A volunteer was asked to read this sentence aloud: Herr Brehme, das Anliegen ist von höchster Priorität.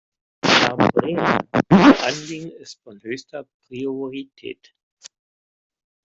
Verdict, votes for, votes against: rejected, 0, 2